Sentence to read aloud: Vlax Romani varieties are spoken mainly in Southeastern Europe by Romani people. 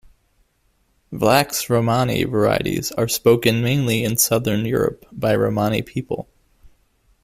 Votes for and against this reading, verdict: 0, 2, rejected